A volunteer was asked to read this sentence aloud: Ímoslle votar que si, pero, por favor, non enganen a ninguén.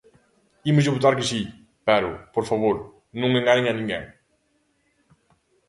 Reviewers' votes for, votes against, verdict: 2, 0, accepted